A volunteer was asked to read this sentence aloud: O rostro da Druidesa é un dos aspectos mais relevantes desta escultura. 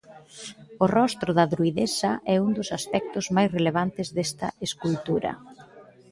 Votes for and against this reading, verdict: 2, 0, accepted